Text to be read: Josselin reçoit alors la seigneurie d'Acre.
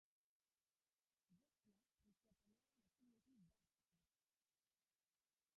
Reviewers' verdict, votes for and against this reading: rejected, 0, 2